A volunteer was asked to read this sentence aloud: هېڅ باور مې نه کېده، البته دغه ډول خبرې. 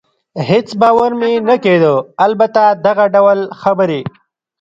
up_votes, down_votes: 1, 2